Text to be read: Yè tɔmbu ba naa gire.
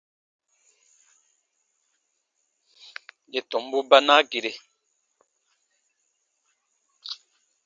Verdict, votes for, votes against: accepted, 2, 0